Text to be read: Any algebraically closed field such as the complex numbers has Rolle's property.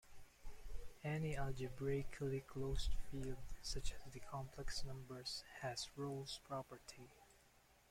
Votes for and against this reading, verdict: 2, 1, accepted